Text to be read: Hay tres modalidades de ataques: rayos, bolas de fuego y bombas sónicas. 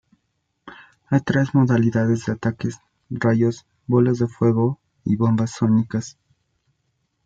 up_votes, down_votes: 2, 0